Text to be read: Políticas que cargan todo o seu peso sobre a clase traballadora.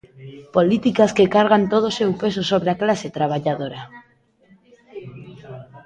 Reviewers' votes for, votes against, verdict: 2, 0, accepted